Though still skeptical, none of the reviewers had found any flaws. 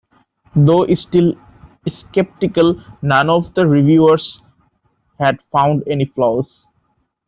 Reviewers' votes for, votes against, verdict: 0, 2, rejected